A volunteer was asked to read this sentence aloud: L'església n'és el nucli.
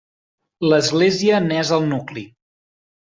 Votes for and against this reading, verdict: 4, 0, accepted